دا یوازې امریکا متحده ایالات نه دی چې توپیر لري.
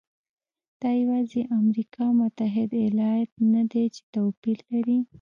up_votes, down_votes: 2, 0